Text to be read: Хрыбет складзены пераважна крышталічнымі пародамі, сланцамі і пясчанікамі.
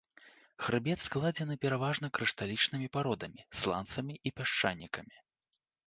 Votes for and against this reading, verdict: 2, 0, accepted